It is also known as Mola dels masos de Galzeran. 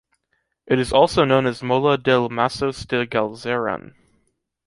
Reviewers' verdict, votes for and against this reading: accepted, 2, 0